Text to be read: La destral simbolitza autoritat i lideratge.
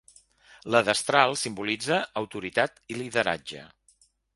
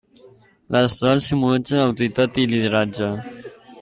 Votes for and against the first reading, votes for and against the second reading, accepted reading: 3, 0, 0, 2, first